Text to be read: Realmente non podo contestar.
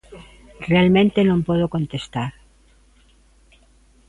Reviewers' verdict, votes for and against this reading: accepted, 2, 0